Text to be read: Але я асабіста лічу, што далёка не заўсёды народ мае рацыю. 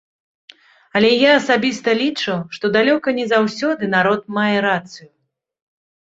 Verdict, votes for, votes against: rejected, 0, 2